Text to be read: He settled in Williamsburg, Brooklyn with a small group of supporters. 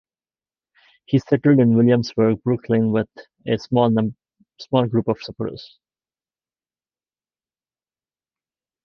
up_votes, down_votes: 1, 2